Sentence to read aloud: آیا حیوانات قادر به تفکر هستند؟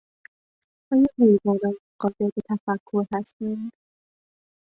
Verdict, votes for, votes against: accepted, 2, 0